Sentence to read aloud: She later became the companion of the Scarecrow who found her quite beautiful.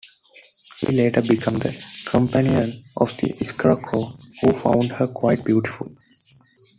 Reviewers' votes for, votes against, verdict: 1, 2, rejected